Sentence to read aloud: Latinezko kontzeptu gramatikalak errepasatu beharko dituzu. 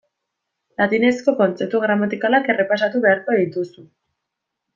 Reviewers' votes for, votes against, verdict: 2, 0, accepted